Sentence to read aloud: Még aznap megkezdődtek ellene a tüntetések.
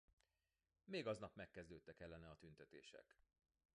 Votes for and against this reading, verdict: 0, 2, rejected